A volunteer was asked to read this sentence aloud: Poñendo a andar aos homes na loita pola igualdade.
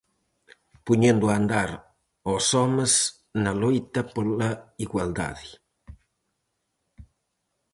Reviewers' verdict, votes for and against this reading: accepted, 4, 0